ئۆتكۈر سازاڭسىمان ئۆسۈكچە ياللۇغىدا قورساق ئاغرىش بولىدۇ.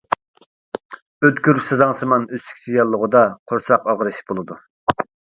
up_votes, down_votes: 2, 0